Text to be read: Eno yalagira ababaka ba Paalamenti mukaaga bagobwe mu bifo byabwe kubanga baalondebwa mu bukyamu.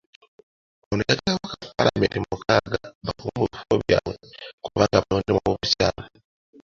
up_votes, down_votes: 0, 2